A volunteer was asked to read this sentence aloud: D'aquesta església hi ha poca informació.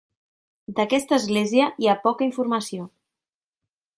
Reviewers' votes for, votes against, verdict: 3, 0, accepted